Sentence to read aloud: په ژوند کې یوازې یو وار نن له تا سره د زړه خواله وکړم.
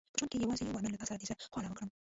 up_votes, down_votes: 0, 2